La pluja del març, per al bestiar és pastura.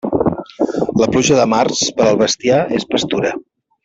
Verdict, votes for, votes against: rejected, 0, 2